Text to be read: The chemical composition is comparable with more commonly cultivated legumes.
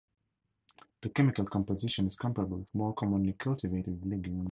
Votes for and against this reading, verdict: 4, 0, accepted